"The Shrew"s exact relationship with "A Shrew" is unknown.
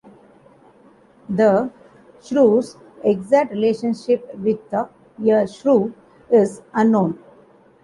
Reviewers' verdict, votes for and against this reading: rejected, 1, 2